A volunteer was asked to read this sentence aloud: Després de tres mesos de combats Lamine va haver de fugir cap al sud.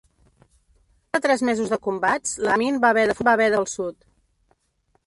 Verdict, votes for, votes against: rejected, 0, 2